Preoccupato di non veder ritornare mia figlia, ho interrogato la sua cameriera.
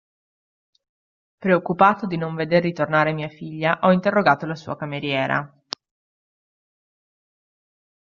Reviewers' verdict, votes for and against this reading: accepted, 2, 0